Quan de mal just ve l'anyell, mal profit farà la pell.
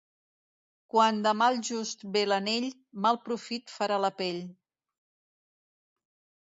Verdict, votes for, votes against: rejected, 0, 2